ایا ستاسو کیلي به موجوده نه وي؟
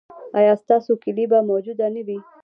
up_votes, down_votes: 2, 0